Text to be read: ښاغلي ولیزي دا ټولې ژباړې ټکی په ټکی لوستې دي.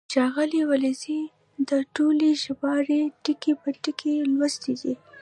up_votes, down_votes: 2, 1